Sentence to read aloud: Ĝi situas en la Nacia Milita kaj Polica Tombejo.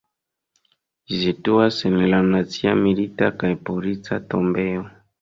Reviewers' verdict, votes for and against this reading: rejected, 1, 2